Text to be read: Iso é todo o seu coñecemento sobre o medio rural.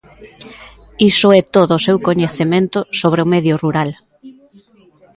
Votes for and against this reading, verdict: 2, 0, accepted